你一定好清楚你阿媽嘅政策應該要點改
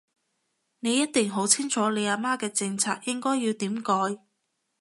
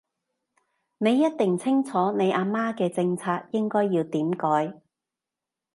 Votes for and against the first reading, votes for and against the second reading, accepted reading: 2, 0, 0, 2, first